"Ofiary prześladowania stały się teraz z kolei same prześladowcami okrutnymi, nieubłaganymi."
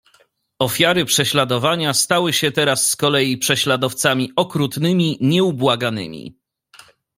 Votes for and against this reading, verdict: 2, 0, accepted